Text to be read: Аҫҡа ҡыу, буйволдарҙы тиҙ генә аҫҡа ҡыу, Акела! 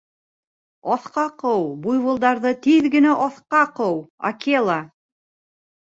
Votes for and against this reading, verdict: 2, 1, accepted